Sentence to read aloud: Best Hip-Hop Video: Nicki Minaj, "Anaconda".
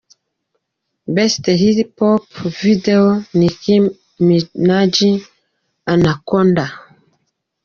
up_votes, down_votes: 1, 2